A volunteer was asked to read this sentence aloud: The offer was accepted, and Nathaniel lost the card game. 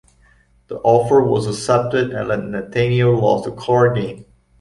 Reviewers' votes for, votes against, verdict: 1, 2, rejected